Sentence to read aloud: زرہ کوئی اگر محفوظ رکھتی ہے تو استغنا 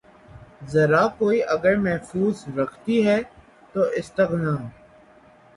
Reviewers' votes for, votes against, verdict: 9, 0, accepted